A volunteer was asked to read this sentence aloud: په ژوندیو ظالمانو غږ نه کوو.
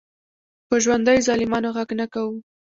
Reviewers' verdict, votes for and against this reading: accepted, 2, 0